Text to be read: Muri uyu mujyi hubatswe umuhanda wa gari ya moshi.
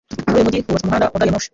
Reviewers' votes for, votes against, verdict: 0, 2, rejected